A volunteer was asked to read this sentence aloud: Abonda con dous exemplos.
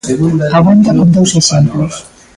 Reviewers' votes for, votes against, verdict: 0, 2, rejected